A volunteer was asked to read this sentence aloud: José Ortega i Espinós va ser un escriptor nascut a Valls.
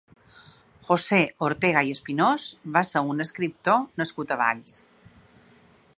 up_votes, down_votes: 3, 0